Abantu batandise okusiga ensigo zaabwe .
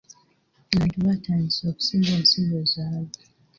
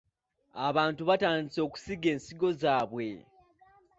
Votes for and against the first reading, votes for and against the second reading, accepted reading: 1, 2, 2, 0, second